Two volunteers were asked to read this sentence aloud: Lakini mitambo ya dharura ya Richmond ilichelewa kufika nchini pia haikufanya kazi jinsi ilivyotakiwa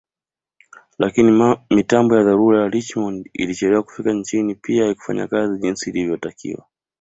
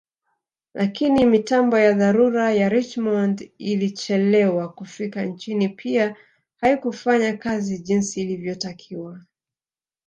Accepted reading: first